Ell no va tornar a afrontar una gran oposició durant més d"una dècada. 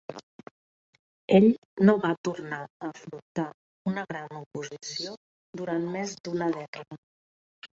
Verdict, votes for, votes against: rejected, 0, 2